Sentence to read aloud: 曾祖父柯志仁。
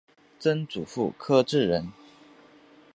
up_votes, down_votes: 2, 0